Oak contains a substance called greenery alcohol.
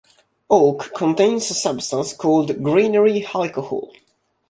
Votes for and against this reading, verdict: 1, 2, rejected